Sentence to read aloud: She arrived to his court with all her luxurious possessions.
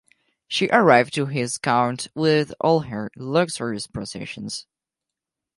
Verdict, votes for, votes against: rejected, 2, 4